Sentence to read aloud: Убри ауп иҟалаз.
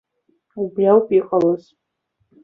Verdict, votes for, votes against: accepted, 2, 1